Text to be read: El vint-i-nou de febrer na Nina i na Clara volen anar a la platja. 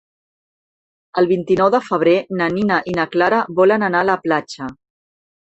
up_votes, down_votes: 4, 0